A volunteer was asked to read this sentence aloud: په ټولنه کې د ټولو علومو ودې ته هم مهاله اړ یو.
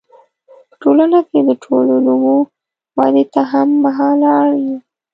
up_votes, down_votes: 0, 2